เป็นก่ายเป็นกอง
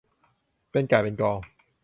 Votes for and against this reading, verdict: 0, 2, rejected